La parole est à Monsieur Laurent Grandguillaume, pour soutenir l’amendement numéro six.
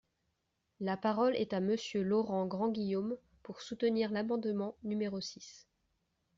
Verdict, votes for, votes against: accepted, 2, 0